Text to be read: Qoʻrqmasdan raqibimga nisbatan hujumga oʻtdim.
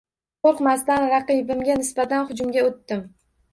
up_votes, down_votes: 2, 1